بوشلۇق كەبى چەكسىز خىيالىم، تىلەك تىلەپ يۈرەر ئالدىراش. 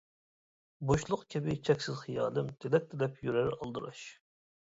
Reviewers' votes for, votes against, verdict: 2, 0, accepted